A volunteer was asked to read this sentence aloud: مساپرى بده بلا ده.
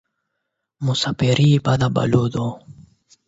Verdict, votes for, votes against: rejected, 4, 8